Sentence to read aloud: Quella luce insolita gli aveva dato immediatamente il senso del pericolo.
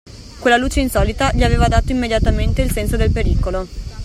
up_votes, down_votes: 2, 0